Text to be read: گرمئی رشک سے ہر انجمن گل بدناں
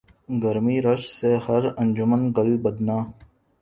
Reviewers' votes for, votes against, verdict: 2, 0, accepted